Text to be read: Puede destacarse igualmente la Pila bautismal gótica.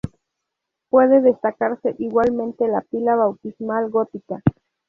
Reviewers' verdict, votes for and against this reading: accepted, 2, 0